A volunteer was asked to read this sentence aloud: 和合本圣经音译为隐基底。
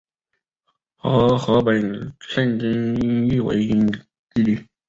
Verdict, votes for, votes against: rejected, 2, 3